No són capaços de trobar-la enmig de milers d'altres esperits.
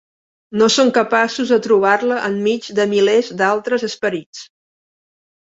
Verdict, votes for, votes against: accepted, 2, 0